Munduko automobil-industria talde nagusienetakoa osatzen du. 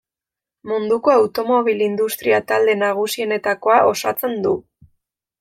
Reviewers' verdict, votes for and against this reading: rejected, 1, 2